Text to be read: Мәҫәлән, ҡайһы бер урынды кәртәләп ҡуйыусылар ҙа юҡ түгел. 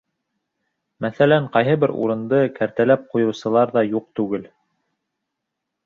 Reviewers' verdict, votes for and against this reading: accepted, 2, 0